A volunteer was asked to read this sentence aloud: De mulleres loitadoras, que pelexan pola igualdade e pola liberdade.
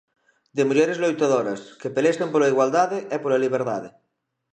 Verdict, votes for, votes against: accepted, 2, 0